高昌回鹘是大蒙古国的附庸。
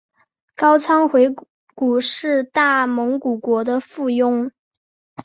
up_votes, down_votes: 2, 1